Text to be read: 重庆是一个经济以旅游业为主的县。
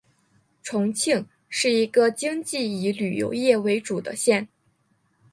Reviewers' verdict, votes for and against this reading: accepted, 2, 0